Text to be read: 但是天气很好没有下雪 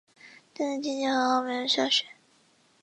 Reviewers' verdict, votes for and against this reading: rejected, 1, 2